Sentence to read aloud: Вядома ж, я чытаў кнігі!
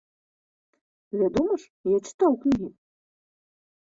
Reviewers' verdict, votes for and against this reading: accepted, 3, 0